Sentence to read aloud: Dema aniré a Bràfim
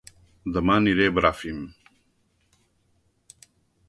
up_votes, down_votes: 2, 0